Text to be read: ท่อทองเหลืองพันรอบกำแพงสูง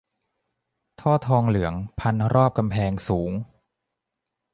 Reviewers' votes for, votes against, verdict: 2, 0, accepted